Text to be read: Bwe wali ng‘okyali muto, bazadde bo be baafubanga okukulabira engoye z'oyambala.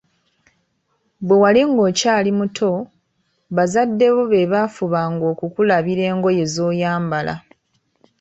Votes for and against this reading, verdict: 2, 0, accepted